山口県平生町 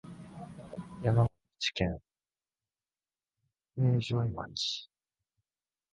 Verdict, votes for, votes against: rejected, 0, 2